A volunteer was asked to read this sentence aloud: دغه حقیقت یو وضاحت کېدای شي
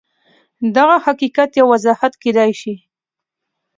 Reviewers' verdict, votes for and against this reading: accepted, 2, 0